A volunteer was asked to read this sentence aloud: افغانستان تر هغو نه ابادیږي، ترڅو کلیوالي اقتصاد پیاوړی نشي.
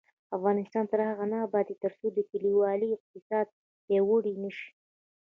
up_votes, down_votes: 2, 0